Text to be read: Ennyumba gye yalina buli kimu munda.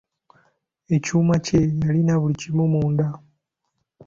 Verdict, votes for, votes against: rejected, 1, 2